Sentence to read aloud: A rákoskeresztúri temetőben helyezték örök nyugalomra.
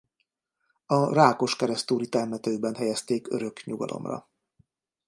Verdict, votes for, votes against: rejected, 0, 2